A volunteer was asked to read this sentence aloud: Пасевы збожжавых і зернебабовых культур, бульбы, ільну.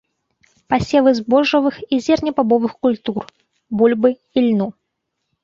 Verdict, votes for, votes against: accepted, 2, 0